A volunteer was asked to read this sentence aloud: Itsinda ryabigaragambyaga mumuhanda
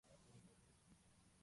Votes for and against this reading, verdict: 0, 2, rejected